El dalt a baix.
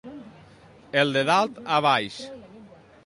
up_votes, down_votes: 1, 2